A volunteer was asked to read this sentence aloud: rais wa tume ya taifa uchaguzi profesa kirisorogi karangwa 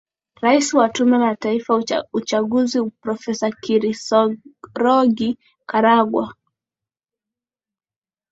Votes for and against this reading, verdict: 4, 1, accepted